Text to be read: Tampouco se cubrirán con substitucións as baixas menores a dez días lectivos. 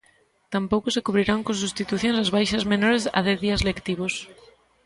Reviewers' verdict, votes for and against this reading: rejected, 1, 2